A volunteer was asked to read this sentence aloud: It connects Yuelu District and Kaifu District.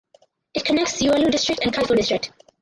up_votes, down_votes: 4, 2